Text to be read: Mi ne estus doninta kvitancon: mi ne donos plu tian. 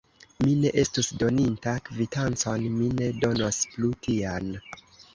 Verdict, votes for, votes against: accepted, 2, 0